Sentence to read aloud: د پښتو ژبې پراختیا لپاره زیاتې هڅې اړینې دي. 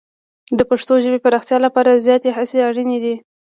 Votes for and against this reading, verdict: 2, 0, accepted